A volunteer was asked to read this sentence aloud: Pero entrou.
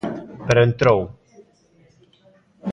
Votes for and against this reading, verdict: 2, 1, accepted